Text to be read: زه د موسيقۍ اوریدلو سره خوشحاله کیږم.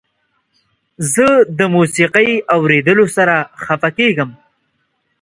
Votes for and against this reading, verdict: 1, 2, rejected